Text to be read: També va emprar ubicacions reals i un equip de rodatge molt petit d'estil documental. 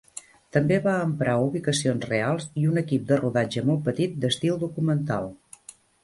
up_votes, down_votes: 3, 0